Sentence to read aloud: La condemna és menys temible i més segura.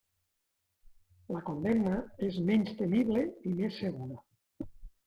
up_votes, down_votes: 0, 2